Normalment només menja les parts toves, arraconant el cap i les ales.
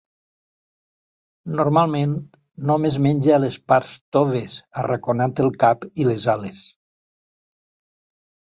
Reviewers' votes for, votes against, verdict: 2, 0, accepted